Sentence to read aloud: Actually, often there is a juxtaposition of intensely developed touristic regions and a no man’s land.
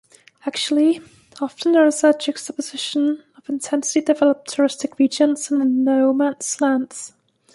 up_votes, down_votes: 0, 2